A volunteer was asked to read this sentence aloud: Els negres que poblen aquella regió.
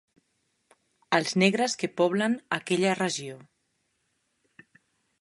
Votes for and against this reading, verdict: 2, 0, accepted